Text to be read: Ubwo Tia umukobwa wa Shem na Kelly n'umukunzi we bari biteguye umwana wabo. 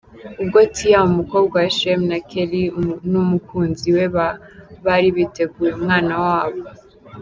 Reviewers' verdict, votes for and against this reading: rejected, 2, 3